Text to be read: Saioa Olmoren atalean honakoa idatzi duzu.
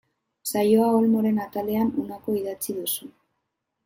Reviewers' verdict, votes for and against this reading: accepted, 2, 1